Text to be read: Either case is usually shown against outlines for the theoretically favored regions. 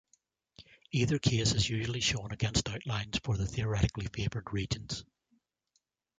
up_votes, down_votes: 2, 0